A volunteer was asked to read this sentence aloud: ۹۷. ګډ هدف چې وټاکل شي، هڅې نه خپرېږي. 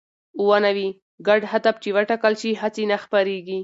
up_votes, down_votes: 0, 2